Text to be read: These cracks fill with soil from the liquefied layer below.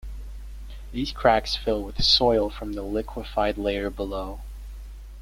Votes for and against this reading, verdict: 2, 0, accepted